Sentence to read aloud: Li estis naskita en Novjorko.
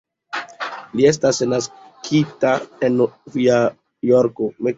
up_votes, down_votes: 2, 0